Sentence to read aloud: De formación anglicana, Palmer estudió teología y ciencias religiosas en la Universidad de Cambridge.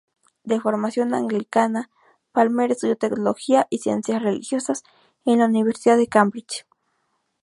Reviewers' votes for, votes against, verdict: 0, 2, rejected